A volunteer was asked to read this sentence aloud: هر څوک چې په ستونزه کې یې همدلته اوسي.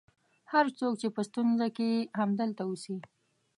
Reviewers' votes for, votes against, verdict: 2, 1, accepted